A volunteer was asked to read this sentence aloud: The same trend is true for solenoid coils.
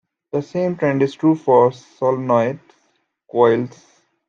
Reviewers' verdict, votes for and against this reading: accepted, 2, 0